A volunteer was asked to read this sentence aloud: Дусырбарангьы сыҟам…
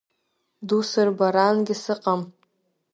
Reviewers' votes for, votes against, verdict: 2, 0, accepted